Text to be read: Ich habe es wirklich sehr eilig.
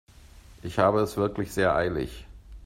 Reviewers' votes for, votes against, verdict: 2, 0, accepted